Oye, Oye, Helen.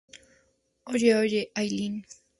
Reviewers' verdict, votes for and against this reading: accepted, 2, 0